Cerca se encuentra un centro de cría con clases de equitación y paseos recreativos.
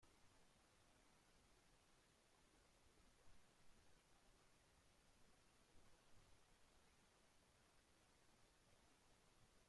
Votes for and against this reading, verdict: 0, 2, rejected